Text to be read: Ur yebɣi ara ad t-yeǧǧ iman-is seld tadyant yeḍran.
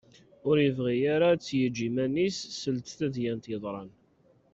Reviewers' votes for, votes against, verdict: 2, 1, accepted